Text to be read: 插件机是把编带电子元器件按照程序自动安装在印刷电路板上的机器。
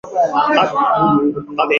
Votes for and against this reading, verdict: 0, 2, rejected